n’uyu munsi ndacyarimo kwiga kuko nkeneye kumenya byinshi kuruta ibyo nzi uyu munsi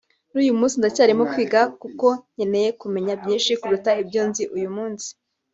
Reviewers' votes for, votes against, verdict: 2, 0, accepted